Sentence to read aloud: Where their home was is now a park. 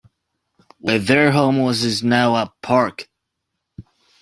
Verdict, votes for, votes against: accepted, 2, 1